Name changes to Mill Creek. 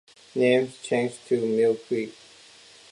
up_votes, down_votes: 2, 1